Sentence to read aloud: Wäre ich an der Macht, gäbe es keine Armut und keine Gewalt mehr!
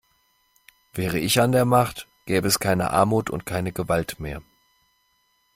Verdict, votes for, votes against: accepted, 2, 0